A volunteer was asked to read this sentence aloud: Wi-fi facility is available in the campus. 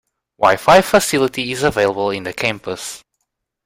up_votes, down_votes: 2, 0